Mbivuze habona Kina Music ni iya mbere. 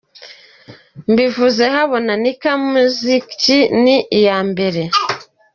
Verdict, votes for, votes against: rejected, 1, 3